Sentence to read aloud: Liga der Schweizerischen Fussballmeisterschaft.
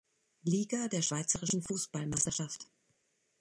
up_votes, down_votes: 2, 1